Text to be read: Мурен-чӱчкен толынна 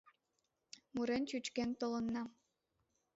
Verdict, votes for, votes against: rejected, 0, 2